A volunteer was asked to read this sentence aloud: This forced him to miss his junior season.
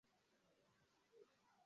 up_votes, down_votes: 0, 2